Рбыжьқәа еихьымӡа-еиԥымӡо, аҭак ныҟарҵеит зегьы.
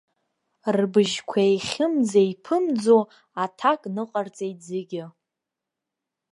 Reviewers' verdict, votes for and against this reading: accepted, 2, 0